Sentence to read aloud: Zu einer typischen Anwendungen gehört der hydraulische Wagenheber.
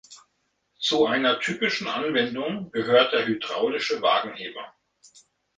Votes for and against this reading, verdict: 2, 0, accepted